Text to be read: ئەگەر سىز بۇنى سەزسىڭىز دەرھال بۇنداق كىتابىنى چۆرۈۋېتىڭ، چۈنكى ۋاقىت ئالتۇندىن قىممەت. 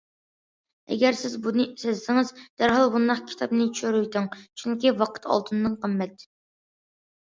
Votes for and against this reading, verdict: 2, 0, accepted